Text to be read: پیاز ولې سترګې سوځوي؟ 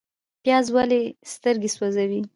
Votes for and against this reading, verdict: 1, 2, rejected